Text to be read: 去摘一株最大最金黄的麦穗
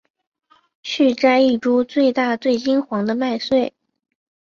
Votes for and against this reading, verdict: 0, 2, rejected